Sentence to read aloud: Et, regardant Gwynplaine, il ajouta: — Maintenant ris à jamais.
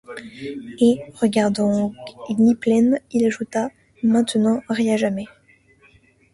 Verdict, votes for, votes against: accepted, 2, 0